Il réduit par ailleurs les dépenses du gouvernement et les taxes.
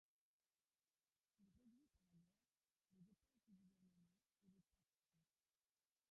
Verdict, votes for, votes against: rejected, 0, 3